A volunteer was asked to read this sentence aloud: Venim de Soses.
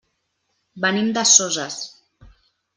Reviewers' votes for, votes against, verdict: 3, 1, accepted